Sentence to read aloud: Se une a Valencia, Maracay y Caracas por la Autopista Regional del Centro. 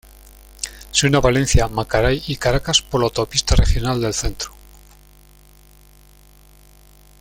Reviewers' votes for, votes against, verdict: 1, 2, rejected